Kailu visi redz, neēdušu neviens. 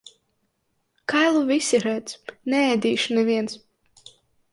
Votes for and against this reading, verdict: 0, 2, rejected